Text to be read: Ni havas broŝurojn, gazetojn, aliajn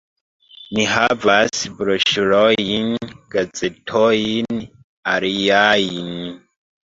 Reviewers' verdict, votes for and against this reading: rejected, 1, 2